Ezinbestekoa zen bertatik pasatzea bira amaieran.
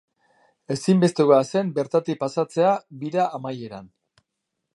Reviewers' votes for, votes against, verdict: 2, 0, accepted